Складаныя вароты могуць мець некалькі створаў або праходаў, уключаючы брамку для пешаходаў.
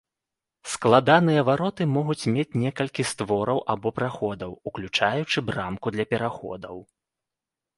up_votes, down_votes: 0, 2